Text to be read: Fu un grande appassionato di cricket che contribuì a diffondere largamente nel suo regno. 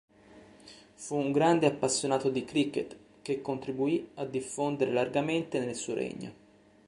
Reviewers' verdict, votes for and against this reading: accepted, 2, 0